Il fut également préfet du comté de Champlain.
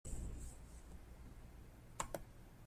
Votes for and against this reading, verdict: 0, 2, rejected